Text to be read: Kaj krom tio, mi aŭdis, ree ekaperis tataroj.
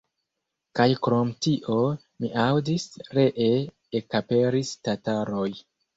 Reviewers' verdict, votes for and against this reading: accepted, 2, 0